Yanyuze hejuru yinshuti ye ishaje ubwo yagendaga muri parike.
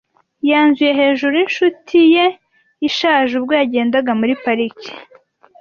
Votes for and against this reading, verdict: 1, 2, rejected